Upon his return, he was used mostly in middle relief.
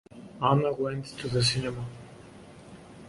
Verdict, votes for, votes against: rejected, 0, 2